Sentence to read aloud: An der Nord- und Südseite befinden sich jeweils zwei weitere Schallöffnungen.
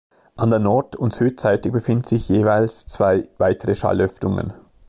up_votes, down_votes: 2, 0